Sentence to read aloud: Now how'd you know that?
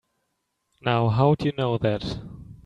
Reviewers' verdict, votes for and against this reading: accepted, 3, 0